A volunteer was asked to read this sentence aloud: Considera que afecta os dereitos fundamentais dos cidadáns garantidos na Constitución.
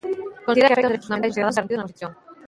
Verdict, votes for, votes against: rejected, 0, 2